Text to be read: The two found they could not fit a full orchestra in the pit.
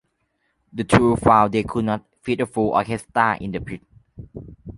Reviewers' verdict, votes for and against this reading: accepted, 2, 0